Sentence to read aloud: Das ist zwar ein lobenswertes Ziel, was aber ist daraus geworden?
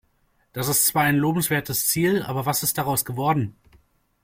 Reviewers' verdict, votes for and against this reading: rejected, 1, 2